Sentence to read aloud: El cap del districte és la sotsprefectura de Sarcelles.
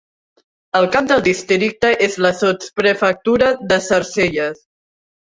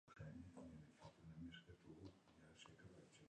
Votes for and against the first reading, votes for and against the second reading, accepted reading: 2, 0, 0, 2, first